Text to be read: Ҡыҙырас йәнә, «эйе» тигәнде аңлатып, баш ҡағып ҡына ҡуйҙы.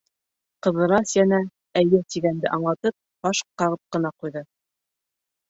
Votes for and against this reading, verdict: 0, 2, rejected